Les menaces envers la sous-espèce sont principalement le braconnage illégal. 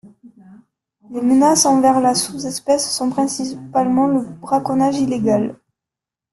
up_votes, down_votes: 0, 2